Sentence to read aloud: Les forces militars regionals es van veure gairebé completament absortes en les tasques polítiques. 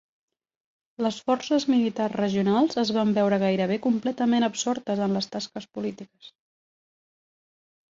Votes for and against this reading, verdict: 3, 0, accepted